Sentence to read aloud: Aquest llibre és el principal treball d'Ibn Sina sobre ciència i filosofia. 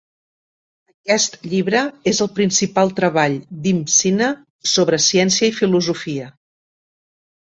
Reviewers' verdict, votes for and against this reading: rejected, 0, 2